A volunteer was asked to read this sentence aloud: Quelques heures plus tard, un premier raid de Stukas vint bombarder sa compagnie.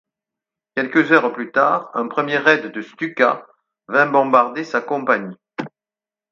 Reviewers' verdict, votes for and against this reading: accepted, 4, 0